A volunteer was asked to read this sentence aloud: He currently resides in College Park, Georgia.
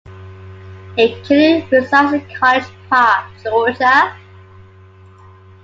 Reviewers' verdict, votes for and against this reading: rejected, 1, 2